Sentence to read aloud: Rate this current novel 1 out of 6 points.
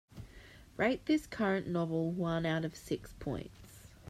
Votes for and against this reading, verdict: 0, 2, rejected